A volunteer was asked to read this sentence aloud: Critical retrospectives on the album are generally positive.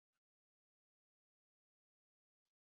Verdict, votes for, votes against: rejected, 0, 2